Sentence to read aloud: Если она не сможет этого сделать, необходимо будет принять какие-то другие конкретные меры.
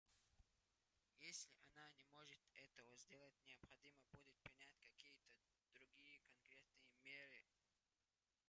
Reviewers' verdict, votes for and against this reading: rejected, 1, 2